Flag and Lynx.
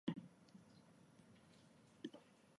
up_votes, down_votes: 0, 2